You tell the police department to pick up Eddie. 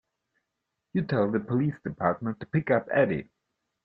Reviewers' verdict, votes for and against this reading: accepted, 2, 0